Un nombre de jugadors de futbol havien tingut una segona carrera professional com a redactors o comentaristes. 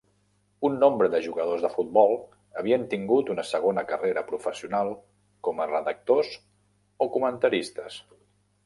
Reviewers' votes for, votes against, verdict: 3, 0, accepted